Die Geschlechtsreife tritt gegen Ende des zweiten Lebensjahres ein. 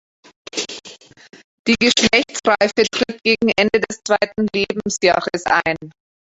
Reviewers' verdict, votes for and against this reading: rejected, 1, 3